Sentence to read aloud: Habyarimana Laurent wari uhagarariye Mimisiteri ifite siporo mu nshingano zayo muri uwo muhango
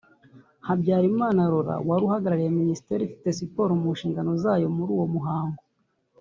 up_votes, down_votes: 1, 2